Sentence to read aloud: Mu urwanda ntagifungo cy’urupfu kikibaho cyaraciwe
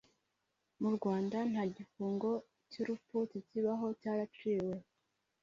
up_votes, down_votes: 2, 1